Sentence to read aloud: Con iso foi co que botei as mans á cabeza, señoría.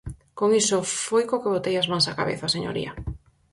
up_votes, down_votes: 4, 0